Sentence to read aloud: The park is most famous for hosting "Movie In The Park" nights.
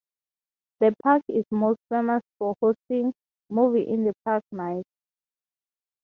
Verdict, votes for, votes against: accepted, 3, 0